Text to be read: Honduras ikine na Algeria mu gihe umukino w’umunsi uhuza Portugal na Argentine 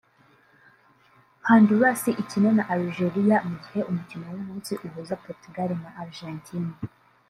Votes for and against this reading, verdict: 0, 2, rejected